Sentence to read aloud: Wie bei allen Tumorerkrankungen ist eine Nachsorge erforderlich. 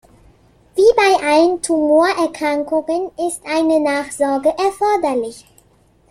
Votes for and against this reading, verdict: 2, 0, accepted